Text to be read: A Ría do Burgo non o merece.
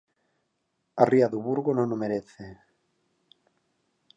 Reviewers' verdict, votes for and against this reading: accepted, 4, 0